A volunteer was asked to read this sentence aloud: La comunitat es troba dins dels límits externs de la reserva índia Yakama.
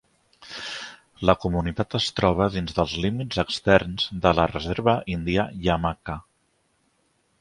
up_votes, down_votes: 1, 2